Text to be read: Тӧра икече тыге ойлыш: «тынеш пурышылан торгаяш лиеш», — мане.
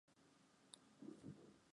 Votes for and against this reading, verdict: 1, 2, rejected